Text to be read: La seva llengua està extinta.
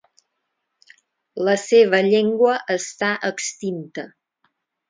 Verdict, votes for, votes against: accepted, 4, 0